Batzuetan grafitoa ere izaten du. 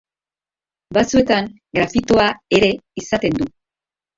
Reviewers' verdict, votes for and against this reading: rejected, 1, 2